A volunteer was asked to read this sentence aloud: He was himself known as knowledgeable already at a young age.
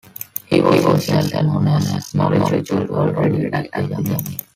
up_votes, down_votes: 0, 2